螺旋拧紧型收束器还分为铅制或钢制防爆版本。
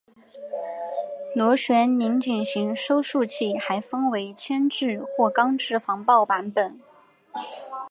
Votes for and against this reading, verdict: 2, 1, accepted